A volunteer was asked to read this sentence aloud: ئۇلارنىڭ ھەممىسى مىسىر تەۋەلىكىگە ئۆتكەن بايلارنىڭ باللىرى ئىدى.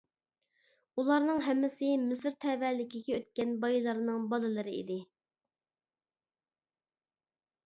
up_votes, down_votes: 2, 0